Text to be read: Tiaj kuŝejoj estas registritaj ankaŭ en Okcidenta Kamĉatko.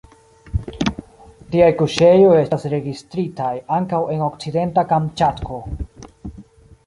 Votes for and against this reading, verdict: 2, 1, accepted